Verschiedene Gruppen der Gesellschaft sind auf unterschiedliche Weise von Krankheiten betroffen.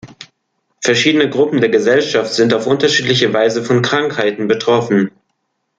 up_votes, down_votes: 2, 0